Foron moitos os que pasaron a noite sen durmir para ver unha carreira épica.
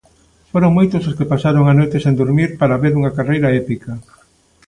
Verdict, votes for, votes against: accepted, 2, 0